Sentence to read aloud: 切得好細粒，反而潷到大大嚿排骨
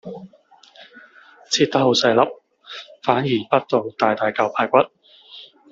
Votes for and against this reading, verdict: 2, 0, accepted